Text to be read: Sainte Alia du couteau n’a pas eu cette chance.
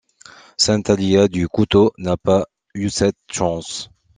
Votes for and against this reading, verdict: 2, 0, accepted